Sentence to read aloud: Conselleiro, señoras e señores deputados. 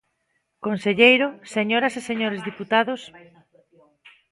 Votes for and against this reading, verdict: 0, 2, rejected